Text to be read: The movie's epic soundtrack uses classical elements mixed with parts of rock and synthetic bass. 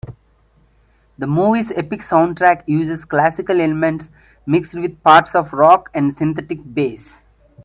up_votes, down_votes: 1, 2